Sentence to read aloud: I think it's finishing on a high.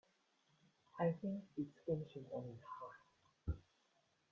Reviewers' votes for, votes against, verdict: 0, 2, rejected